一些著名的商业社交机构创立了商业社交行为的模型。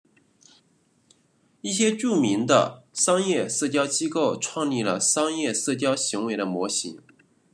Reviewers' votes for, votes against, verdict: 2, 0, accepted